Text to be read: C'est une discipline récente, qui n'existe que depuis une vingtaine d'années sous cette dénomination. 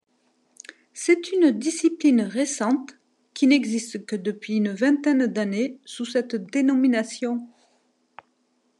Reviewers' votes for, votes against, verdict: 2, 0, accepted